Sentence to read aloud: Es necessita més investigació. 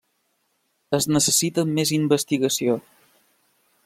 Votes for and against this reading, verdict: 3, 0, accepted